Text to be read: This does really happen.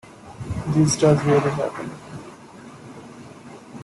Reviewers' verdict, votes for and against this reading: accepted, 2, 0